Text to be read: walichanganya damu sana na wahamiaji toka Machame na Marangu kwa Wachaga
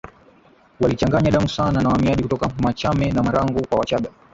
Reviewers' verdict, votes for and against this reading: accepted, 3, 0